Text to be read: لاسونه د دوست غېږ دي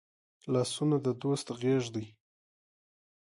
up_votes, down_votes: 2, 1